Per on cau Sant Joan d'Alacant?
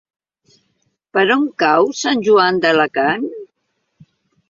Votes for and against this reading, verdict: 2, 0, accepted